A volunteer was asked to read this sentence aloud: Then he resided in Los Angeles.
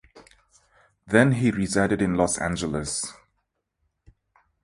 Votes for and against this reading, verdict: 2, 0, accepted